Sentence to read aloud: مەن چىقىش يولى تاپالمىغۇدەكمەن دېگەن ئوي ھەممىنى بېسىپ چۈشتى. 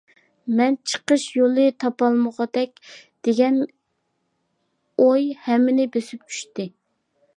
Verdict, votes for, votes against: rejected, 0, 2